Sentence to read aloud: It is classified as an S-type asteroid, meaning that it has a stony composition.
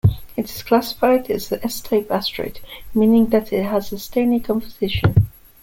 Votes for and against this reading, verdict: 2, 0, accepted